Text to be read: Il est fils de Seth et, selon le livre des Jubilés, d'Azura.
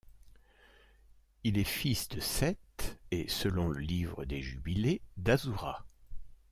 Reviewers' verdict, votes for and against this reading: accepted, 2, 0